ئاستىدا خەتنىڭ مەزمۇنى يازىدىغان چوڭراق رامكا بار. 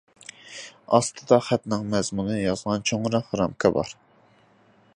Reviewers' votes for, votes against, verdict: 0, 2, rejected